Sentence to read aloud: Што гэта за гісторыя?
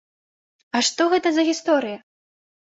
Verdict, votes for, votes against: rejected, 0, 2